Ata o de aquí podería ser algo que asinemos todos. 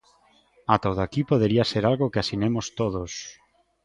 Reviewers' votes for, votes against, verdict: 2, 0, accepted